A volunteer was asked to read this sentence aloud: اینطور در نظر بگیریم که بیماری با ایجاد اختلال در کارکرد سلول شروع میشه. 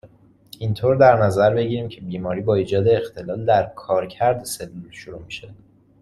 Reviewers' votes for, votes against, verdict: 2, 0, accepted